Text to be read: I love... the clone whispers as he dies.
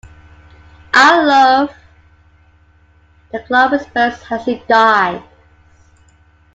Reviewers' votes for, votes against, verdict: 0, 2, rejected